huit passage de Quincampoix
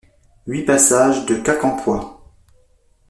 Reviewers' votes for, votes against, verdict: 2, 0, accepted